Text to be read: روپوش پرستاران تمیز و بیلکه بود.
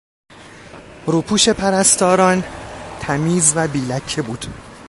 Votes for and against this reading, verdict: 2, 0, accepted